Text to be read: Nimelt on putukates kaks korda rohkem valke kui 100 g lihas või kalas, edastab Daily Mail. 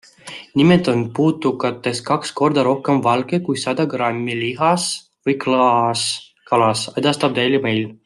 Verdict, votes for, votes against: rejected, 0, 2